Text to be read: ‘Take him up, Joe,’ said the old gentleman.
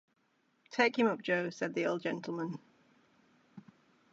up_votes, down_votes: 2, 0